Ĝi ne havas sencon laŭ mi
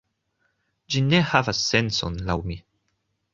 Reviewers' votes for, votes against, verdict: 2, 0, accepted